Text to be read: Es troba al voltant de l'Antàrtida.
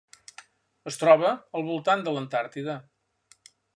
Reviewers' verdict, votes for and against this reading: accepted, 3, 0